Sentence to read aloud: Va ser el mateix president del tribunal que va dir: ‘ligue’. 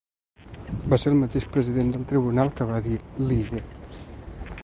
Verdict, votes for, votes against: accepted, 2, 0